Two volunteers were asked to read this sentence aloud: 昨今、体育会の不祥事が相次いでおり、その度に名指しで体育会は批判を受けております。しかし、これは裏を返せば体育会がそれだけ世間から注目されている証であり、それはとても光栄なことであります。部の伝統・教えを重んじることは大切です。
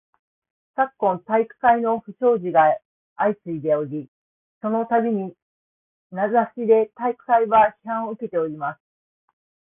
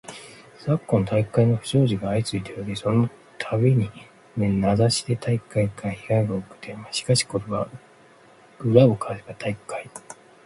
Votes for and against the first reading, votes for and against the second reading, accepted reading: 1, 3, 2, 1, second